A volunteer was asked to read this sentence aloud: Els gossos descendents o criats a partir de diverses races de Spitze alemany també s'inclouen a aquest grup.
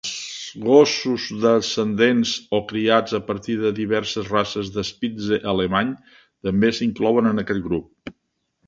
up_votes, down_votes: 0, 2